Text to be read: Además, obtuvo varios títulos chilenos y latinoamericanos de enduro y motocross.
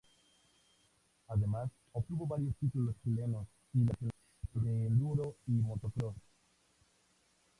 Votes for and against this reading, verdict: 0, 2, rejected